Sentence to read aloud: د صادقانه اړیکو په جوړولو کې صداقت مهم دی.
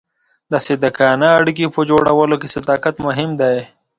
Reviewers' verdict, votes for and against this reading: accepted, 2, 0